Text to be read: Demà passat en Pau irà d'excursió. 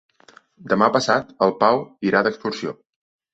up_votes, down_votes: 0, 2